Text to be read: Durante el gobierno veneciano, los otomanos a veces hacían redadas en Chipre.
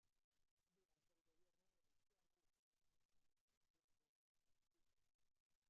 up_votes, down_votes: 0, 2